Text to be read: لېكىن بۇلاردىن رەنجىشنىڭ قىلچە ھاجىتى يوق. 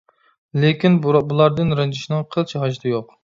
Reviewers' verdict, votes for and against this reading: rejected, 0, 2